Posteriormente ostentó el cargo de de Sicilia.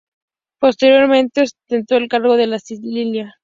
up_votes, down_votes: 2, 0